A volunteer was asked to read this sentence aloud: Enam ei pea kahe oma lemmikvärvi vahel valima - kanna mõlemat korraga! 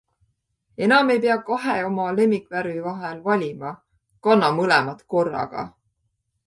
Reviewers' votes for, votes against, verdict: 2, 0, accepted